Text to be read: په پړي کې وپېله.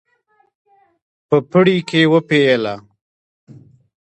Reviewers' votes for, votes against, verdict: 1, 2, rejected